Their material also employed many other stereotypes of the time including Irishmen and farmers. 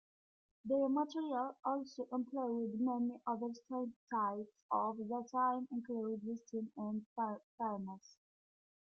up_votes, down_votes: 0, 2